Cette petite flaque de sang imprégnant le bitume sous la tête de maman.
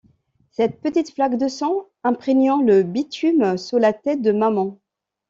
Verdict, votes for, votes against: accepted, 2, 0